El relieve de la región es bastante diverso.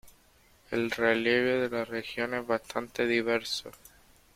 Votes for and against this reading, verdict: 2, 0, accepted